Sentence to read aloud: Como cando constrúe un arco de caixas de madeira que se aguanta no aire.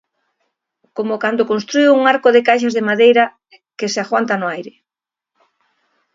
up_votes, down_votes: 2, 0